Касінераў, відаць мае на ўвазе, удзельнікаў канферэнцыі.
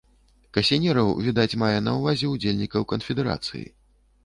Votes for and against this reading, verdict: 1, 2, rejected